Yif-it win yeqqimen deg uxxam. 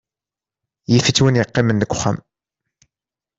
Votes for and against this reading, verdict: 1, 2, rejected